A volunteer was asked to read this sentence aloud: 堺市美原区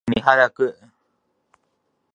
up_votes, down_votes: 0, 2